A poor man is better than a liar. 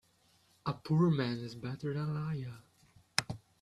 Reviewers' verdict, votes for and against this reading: rejected, 1, 2